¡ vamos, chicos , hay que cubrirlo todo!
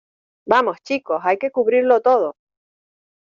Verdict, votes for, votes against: accepted, 2, 1